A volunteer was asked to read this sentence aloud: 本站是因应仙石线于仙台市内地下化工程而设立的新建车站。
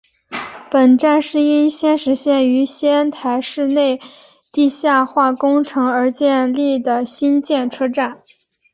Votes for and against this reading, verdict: 2, 0, accepted